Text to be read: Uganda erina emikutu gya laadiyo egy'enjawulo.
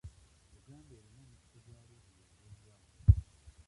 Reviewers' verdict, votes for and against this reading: rejected, 0, 2